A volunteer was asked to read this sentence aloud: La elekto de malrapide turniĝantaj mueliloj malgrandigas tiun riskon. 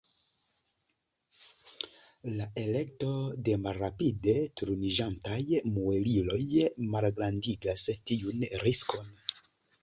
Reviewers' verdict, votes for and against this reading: rejected, 1, 2